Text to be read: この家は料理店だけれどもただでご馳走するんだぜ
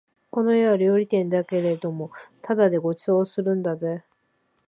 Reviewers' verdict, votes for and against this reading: accepted, 2, 0